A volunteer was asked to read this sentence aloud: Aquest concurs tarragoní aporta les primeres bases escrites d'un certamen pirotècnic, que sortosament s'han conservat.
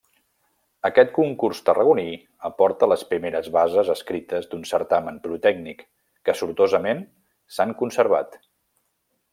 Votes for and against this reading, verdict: 2, 0, accepted